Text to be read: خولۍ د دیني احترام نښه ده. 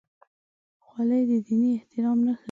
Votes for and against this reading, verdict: 0, 2, rejected